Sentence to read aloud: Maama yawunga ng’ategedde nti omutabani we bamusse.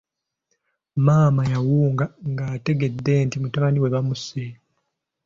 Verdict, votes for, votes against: accepted, 2, 0